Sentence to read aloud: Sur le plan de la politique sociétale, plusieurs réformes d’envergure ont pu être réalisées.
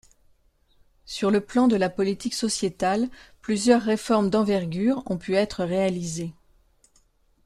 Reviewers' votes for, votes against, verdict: 2, 0, accepted